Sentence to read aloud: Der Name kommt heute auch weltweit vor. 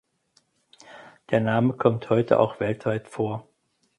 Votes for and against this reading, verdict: 4, 0, accepted